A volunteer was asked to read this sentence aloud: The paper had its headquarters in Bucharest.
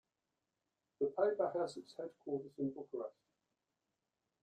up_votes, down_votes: 1, 2